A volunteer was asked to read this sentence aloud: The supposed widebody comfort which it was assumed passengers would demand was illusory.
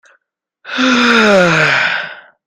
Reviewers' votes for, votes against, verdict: 0, 2, rejected